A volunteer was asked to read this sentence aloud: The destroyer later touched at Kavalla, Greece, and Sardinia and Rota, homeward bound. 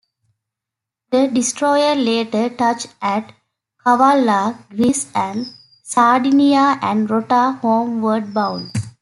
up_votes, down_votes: 2, 1